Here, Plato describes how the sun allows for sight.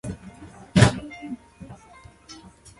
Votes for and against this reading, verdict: 0, 2, rejected